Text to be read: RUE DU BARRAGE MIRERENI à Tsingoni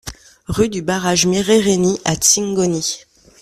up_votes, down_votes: 2, 0